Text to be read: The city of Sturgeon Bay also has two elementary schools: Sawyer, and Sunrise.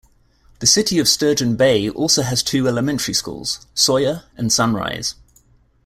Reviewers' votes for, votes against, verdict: 2, 0, accepted